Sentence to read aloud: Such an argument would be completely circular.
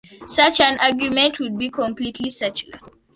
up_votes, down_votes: 2, 0